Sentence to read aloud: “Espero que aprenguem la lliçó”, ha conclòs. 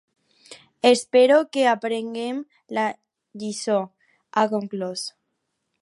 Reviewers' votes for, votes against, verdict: 4, 0, accepted